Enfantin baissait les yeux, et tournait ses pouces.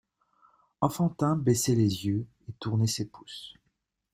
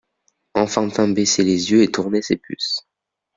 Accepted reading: first